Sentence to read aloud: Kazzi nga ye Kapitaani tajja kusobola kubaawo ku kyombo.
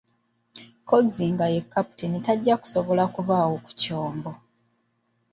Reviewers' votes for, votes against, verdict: 0, 2, rejected